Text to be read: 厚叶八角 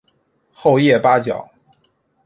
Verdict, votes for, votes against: accepted, 2, 0